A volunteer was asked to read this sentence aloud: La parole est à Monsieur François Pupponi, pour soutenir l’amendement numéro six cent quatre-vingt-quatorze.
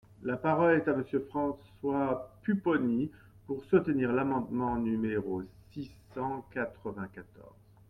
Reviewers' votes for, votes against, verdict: 2, 0, accepted